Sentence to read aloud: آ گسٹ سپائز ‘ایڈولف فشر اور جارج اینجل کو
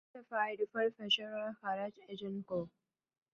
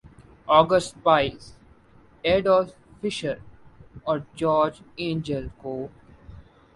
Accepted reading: second